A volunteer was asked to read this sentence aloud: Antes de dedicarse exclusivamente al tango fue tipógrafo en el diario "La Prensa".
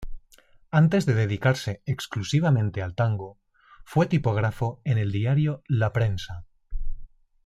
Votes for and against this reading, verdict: 2, 1, accepted